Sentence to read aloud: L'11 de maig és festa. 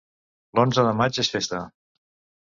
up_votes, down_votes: 0, 2